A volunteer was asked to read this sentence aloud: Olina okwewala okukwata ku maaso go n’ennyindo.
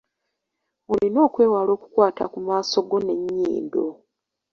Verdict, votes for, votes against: accepted, 3, 0